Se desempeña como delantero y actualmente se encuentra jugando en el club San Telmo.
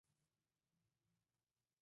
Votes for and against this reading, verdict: 0, 2, rejected